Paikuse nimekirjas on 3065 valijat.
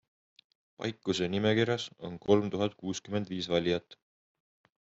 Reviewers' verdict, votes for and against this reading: rejected, 0, 2